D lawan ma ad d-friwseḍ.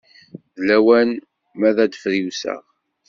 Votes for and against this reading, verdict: 2, 0, accepted